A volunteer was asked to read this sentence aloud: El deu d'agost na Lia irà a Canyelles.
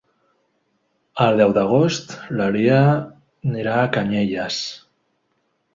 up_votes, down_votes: 1, 2